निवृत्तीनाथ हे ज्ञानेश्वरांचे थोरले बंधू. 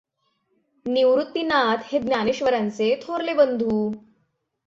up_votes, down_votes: 6, 0